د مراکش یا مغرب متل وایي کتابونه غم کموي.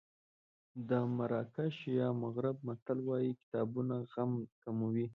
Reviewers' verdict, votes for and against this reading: accepted, 2, 0